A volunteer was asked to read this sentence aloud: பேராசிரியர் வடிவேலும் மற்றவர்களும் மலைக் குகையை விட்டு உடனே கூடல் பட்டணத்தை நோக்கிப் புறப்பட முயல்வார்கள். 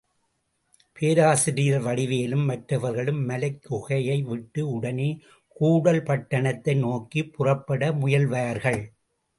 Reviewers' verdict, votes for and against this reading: accepted, 2, 0